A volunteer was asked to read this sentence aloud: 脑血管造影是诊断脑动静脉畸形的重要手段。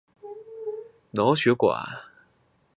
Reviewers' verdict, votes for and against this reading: rejected, 2, 3